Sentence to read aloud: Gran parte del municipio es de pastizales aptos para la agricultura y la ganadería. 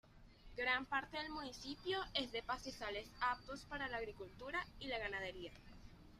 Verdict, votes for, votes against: rejected, 1, 2